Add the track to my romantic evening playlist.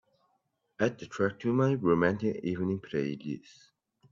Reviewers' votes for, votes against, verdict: 1, 2, rejected